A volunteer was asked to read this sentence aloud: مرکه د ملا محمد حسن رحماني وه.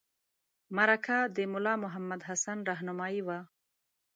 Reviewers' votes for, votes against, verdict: 1, 2, rejected